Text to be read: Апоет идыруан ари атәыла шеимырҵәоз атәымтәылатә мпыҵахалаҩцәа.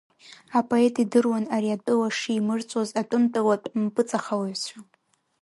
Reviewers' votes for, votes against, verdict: 0, 2, rejected